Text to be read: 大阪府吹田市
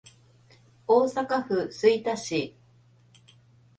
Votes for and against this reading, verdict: 2, 0, accepted